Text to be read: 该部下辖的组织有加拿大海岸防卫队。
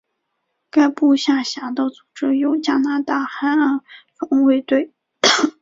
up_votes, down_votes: 2, 1